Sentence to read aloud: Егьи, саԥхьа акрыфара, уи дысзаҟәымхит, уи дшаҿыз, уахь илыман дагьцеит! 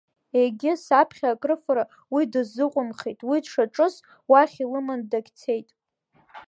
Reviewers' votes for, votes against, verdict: 0, 2, rejected